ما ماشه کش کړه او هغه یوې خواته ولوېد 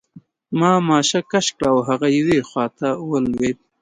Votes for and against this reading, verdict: 2, 0, accepted